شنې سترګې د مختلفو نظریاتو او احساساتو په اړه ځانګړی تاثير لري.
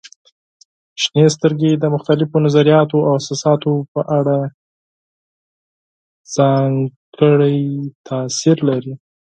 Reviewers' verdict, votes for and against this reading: rejected, 2, 4